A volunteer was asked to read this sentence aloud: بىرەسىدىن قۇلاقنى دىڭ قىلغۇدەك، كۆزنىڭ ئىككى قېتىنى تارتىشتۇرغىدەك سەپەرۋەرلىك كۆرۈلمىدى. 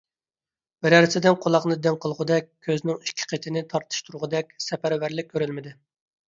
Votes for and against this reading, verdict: 2, 0, accepted